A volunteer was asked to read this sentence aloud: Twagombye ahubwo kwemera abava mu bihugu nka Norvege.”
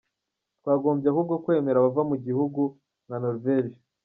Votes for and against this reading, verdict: 0, 2, rejected